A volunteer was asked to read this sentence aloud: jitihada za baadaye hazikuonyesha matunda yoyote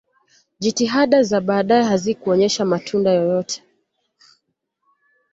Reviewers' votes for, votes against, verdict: 2, 0, accepted